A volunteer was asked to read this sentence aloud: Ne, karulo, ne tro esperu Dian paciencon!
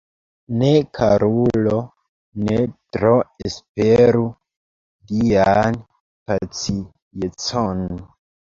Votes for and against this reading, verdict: 0, 2, rejected